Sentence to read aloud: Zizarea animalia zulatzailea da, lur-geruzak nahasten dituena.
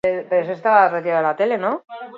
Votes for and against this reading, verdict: 2, 4, rejected